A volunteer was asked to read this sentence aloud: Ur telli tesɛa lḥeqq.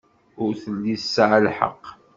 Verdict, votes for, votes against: accepted, 2, 0